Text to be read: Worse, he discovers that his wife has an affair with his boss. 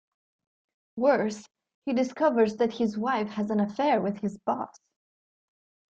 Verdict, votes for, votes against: accepted, 2, 0